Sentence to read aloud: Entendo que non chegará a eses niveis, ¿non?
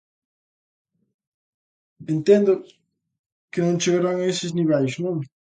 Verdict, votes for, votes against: rejected, 0, 2